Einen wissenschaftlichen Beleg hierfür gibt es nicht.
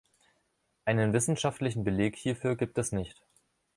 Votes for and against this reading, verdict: 2, 0, accepted